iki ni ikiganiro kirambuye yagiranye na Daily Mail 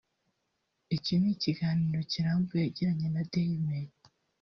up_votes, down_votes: 0, 2